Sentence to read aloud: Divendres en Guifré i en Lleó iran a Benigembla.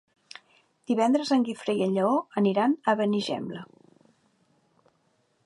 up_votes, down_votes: 0, 2